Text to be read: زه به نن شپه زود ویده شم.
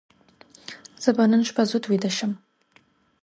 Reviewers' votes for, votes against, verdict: 2, 0, accepted